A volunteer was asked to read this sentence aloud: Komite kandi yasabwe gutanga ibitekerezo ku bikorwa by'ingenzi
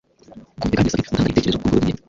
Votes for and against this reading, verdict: 1, 2, rejected